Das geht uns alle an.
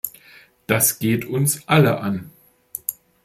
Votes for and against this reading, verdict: 2, 0, accepted